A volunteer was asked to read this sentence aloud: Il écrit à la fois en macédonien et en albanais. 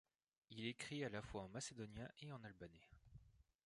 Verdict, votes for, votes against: accepted, 2, 0